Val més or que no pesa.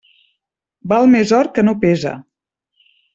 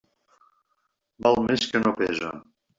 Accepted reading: first